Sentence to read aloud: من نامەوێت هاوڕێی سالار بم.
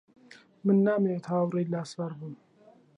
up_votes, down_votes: 0, 2